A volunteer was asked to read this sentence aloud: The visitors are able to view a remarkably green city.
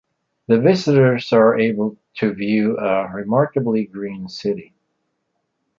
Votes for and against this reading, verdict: 3, 0, accepted